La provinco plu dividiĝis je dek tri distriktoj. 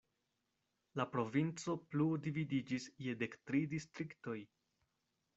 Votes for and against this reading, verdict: 2, 0, accepted